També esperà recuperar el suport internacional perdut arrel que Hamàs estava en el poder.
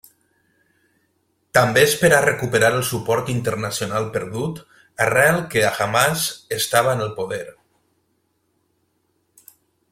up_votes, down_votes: 3, 0